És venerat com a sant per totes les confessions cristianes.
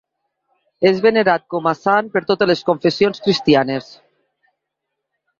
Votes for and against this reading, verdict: 2, 0, accepted